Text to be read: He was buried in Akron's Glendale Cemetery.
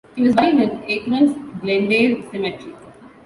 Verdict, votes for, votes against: rejected, 0, 2